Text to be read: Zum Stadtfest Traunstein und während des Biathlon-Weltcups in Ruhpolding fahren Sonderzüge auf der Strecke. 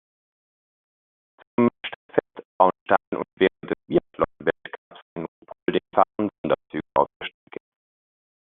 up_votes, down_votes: 0, 2